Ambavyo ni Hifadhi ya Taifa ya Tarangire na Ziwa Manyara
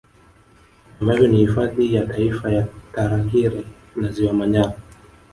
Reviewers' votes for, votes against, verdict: 2, 0, accepted